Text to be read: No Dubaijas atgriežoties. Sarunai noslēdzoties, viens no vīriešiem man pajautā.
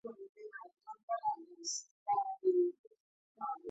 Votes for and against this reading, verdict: 0, 2, rejected